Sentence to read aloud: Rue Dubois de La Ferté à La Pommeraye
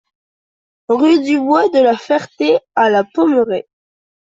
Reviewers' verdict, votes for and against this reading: accepted, 2, 0